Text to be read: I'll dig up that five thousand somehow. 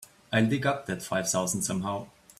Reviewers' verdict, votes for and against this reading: accepted, 3, 0